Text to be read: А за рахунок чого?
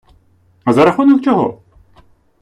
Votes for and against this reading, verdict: 2, 0, accepted